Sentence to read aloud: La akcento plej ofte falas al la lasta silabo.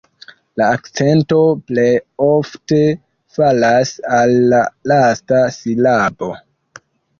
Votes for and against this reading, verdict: 0, 2, rejected